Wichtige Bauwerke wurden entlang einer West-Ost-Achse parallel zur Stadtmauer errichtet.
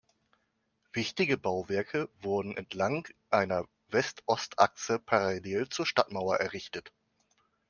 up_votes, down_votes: 2, 0